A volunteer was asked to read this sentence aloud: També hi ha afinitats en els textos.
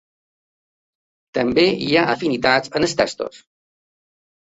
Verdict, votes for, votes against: accepted, 2, 0